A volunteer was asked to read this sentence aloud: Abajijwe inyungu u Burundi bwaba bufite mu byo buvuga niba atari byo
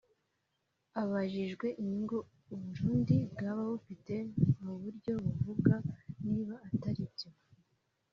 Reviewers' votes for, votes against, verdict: 1, 2, rejected